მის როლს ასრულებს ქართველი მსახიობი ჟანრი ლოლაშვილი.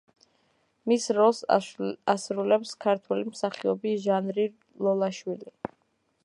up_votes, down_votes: 0, 2